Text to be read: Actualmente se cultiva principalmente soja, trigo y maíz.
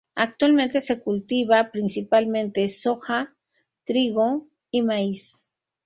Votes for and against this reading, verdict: 2, 0, accepted